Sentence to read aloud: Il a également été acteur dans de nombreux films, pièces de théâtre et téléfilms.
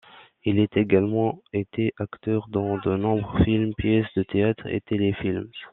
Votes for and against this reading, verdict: 0, 2, rejected